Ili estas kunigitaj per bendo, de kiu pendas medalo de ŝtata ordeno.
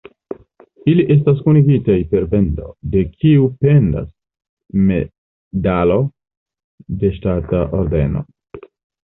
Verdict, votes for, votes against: accepted, 3, 0